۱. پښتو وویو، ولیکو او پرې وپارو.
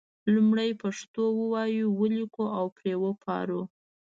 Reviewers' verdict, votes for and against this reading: rejected, 0, 2